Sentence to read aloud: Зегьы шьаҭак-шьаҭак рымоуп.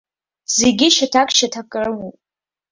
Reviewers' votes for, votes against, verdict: 2, 1, accepted